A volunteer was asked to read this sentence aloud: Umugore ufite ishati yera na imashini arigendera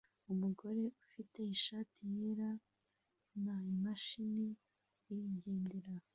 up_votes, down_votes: 0, 2